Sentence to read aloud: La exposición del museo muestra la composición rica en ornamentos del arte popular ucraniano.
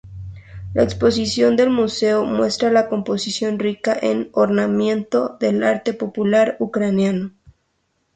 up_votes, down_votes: 0, 2